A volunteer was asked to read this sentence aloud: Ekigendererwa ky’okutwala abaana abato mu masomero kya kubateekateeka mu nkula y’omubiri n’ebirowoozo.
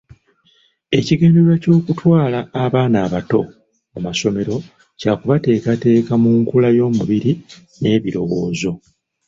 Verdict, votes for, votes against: accepted, 2, 1